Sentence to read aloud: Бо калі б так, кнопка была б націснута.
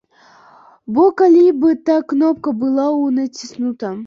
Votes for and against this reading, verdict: 1, 2, rejected